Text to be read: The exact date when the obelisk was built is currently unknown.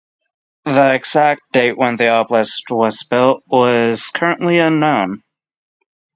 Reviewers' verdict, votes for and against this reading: rejected, 0, 3